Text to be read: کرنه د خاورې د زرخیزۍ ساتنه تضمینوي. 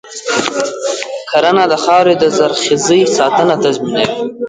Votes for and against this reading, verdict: 1, 2, rejected